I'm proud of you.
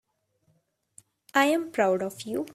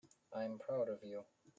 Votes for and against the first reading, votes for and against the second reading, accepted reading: 3, 1, 1, 2, first